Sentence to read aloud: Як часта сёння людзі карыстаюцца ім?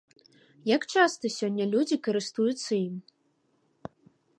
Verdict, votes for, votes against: rejected, 0, 3